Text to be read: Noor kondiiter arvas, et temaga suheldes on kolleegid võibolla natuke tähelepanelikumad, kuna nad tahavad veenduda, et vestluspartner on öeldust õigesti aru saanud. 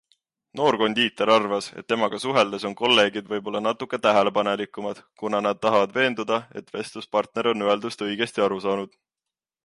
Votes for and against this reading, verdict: 2, 0, accepted